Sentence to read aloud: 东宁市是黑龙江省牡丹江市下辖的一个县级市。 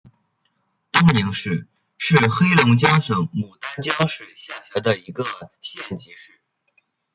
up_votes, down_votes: 1, 2